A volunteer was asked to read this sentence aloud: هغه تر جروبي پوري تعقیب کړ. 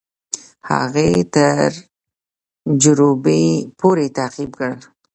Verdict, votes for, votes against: rejected, 1, 2